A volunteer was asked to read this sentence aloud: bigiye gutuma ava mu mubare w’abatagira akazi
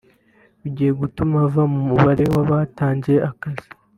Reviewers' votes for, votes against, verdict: 0, 2, rejected